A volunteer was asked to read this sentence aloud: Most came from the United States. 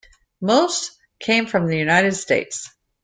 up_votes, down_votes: 2, 0